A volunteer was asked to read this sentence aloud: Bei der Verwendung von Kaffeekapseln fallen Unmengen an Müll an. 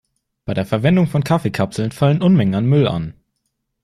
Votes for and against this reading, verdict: 2, 0, accepted